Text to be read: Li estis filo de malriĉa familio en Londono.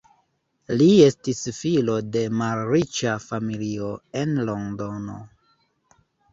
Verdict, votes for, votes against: accepted, 2, 0